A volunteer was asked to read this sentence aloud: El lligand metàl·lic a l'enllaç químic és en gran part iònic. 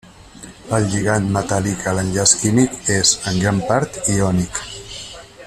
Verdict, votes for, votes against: rejected, 1, 2